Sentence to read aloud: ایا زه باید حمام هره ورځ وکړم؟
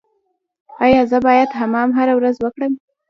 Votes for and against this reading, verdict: 1, 2, rejected